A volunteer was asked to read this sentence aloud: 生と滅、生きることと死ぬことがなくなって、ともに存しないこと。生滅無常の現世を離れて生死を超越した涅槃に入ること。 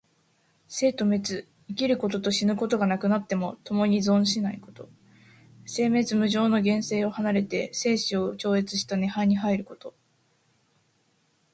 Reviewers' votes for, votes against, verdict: 2, 0, accepted